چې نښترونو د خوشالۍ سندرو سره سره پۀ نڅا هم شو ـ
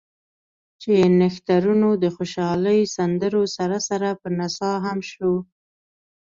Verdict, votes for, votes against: accepted, 2, 0